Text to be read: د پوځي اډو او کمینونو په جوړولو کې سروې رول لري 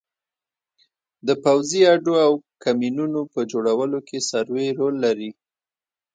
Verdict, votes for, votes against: rejected, 1, 2